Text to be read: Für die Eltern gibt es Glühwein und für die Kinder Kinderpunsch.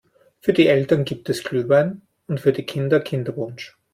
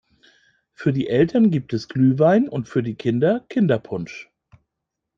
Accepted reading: first